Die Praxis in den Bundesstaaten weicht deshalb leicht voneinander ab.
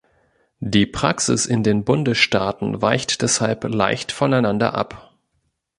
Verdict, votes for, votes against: accepted, 4, 0